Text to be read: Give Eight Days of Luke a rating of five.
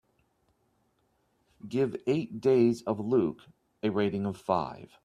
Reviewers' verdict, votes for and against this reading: accepted, 2, 0